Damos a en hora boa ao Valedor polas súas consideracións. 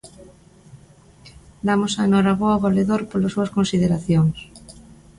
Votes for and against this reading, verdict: 2, 0, accepted